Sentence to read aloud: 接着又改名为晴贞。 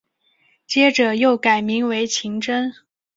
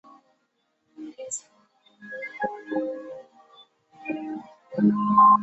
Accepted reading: first